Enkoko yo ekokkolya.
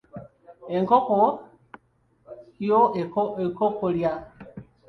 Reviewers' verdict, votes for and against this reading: rejected, 0, 2